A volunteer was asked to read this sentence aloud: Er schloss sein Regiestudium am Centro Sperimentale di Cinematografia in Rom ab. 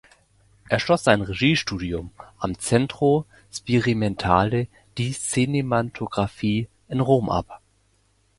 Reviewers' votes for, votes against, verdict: 0, 2, rejected